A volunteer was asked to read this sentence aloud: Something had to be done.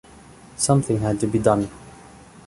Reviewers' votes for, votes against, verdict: 2, 0, accepted